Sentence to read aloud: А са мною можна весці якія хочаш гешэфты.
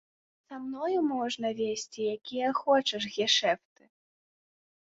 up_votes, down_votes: 0, 2